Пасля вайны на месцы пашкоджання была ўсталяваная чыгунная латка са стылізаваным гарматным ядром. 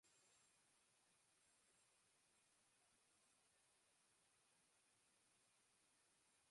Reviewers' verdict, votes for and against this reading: rejected, 0, 2